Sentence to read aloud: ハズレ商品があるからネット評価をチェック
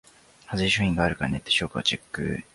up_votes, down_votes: 1, 2